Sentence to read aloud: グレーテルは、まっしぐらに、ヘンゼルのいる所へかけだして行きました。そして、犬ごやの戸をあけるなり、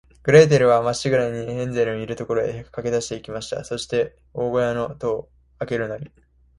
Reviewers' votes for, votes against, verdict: 2, 1, accepted